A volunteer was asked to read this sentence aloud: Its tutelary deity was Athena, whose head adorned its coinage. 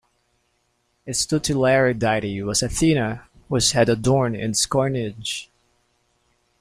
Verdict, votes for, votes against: rejected, 0, 2